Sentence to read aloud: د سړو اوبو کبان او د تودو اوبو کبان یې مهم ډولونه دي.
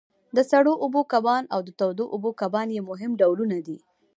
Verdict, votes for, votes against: rejected, 0, 2